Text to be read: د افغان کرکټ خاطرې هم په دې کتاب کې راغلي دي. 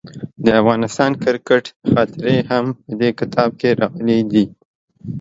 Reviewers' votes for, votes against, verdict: 0, 2, rejected